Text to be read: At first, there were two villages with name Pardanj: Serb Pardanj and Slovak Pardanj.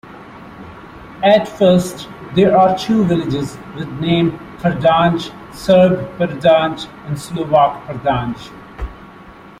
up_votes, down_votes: 0, 2